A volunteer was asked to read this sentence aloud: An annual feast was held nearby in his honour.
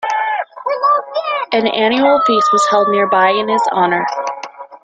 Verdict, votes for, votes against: rejected, 1, 2